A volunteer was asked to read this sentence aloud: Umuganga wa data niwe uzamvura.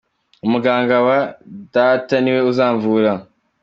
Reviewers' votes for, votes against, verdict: 2, 1, accepted